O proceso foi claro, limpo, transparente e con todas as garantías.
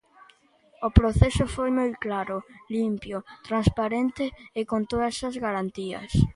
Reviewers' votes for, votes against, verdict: 0, 2, rejected